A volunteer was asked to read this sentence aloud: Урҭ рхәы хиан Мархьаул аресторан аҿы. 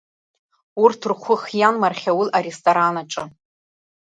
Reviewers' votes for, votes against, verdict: 1, 2, rejected